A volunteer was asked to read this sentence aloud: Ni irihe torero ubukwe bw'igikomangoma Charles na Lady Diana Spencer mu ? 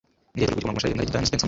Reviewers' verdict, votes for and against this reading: accepted, 2, 1